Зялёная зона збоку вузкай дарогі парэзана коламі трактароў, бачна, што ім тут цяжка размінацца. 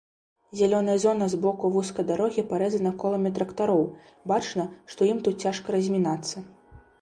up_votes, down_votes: 2, 0